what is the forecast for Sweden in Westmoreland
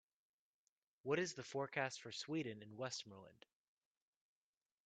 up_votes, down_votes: 2, 0